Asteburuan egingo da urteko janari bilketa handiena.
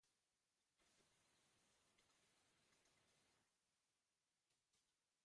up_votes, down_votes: 0, 2